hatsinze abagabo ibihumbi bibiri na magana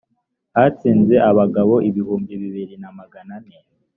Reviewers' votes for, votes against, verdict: 1, 2, rejected